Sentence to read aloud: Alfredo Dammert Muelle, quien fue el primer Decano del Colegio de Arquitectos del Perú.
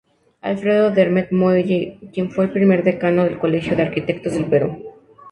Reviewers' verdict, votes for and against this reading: accepted, 2, 0